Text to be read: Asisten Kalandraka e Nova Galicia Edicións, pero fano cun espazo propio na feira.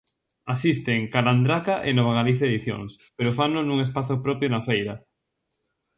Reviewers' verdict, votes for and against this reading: rejected, 0, 2